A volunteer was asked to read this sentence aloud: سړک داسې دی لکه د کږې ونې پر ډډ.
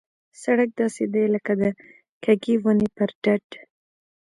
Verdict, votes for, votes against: rejected, 1, 2